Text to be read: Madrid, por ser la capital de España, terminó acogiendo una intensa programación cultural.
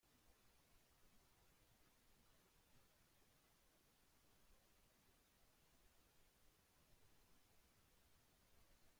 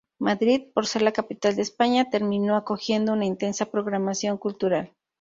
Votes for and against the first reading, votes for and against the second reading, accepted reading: 1, 2, 2, 0, second